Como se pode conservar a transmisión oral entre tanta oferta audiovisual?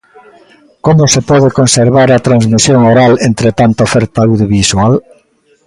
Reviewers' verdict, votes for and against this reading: rejected, 0, 2